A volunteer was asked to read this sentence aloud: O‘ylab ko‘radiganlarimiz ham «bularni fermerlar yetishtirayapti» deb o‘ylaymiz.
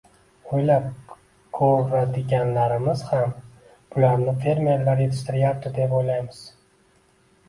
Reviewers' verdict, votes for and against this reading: rejected, 0, 2